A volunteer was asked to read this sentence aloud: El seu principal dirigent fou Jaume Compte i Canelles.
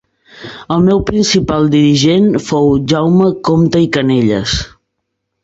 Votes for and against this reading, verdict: 1, 4, rejected